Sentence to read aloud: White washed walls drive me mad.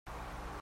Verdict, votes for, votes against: rejected, 0, 2